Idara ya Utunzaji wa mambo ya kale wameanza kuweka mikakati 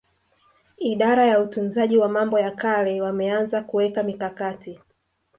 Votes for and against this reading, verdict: 1, 2, rejected